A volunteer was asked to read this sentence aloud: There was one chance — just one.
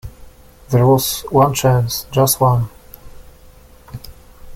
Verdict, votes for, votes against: accepted, 2, 0